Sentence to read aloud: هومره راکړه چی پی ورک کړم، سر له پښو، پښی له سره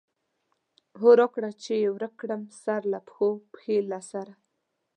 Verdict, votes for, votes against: rejected, 0, 2